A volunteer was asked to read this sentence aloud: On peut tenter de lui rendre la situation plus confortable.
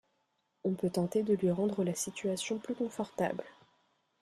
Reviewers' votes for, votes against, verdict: 1, 2, rejected